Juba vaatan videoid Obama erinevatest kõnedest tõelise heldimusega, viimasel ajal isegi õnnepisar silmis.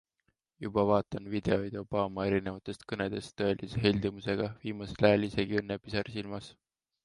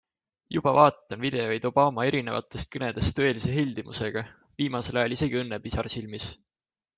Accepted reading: second